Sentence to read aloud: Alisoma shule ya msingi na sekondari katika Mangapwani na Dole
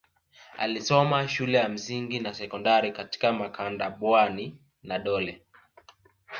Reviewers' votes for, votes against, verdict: 1, 2, rejected